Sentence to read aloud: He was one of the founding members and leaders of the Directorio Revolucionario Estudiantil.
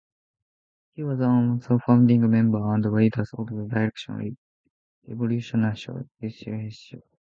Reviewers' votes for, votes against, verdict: 0, 2, rejected